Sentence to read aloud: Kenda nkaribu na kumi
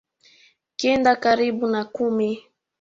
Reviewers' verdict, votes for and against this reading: accepted, 2, 1